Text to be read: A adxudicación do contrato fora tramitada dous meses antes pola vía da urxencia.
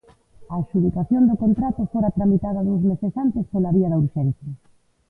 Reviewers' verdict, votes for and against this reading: accepted, 2, 1